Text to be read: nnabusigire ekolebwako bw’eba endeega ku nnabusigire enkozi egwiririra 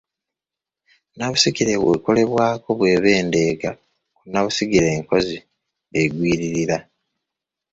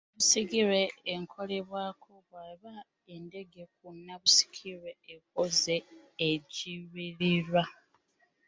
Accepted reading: first